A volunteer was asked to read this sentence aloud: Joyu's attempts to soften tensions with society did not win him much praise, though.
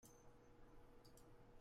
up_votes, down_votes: 0, 2